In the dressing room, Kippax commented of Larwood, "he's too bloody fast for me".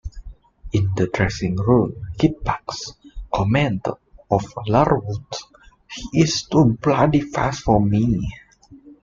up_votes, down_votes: 2, 0